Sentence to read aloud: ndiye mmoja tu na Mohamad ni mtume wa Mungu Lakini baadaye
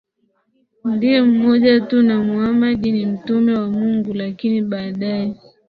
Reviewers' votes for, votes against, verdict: 0, 4, rejected